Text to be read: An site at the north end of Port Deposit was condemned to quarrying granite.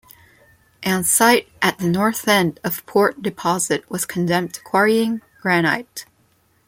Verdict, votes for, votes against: accepted, 2, 0